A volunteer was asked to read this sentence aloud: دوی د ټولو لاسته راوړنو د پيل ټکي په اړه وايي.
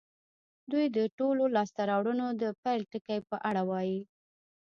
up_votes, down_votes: 1, 2